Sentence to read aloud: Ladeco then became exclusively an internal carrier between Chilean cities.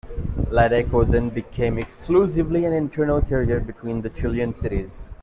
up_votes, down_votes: 2, 1